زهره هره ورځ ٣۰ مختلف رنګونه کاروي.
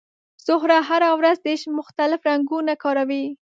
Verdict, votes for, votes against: rejected, 0, 2